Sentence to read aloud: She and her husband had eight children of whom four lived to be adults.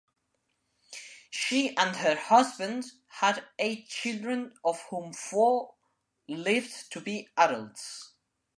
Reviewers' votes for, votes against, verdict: 2, 0, accepted